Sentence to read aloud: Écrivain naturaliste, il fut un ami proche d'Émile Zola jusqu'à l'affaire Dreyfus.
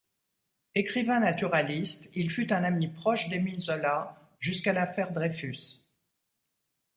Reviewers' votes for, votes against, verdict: 2, 0, accepted